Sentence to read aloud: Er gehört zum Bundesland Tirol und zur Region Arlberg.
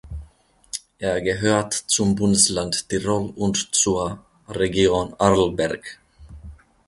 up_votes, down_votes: 2, 0